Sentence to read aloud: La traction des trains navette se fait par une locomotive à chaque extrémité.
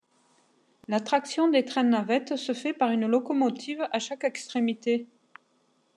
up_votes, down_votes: 2, 0